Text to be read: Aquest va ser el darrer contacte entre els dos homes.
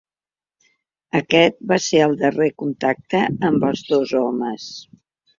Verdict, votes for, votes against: rejected, 0, 2